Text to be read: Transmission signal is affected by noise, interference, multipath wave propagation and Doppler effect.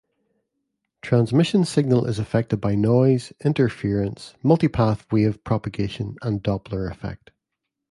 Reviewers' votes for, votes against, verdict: 2, 0, accepted